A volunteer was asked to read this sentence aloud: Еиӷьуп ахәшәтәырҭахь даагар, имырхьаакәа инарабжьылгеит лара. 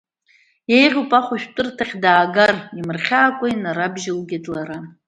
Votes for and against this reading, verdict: 2, 1, accepted